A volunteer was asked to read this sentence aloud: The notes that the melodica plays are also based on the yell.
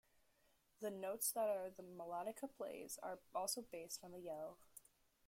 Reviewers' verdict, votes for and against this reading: rejected, 0, 2